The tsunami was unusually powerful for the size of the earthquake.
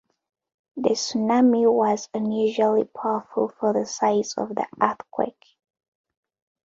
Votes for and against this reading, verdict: 3, 0, accepted